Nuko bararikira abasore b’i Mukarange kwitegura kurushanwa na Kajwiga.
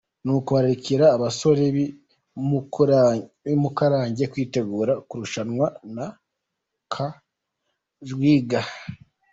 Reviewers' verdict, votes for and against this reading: rejected, 0, 2